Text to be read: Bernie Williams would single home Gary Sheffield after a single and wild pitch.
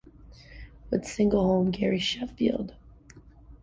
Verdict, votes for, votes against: rejected, 0, 2